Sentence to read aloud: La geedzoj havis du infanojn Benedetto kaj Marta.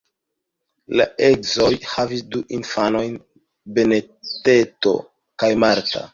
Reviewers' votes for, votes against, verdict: 2, 3, rejected